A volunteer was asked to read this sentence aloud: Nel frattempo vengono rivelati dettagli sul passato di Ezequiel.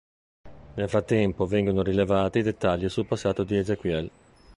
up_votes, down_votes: 1, 2